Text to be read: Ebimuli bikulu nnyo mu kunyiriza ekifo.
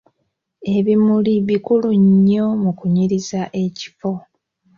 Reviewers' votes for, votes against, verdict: 2, 0, accepted